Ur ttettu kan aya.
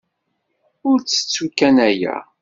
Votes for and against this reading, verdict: 2, 0, accepted